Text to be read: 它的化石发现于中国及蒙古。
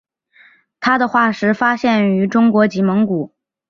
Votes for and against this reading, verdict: 2, 0, accepted